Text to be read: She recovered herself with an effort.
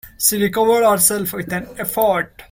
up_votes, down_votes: 1, 2